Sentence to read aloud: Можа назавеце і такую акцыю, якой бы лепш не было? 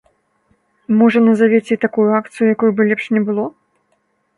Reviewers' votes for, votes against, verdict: 3, 0, accepted